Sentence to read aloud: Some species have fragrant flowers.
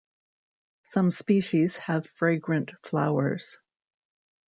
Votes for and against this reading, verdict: 2, 0, accepted